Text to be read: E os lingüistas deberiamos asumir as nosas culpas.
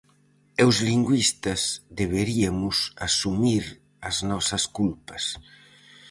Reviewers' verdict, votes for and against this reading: rejected, 0, 4